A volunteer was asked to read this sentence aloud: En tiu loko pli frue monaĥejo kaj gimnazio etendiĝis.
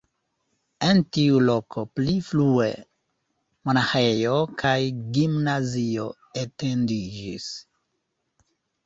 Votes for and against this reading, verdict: 1, 2, rejected